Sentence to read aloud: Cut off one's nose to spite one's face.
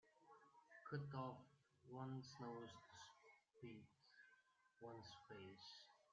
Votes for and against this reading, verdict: 0, 2, rejected